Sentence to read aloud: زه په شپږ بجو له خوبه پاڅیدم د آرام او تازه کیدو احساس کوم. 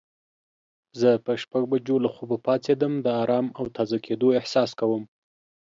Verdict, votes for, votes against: accepted, 2, 0